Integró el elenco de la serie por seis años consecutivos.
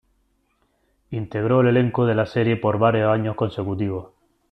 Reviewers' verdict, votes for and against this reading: rejected, 0, 2